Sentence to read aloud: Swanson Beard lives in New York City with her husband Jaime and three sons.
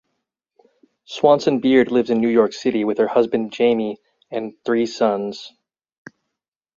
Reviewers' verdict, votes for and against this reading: accepted, 4, 0